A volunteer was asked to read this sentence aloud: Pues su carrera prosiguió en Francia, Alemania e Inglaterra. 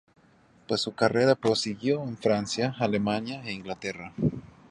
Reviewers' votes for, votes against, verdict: 2, 0, accepted